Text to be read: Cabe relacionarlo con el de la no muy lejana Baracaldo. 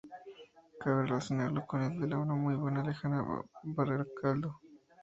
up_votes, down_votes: 0, 2